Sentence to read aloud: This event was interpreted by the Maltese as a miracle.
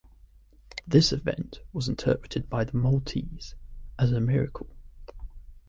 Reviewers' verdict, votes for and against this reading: accepted, 2, 0